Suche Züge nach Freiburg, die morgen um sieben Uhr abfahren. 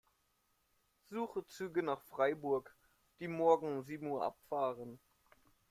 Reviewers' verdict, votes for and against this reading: accepted, 2, 0